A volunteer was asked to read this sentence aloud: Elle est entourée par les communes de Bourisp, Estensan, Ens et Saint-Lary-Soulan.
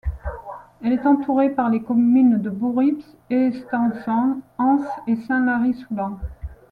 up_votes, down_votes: 1, 2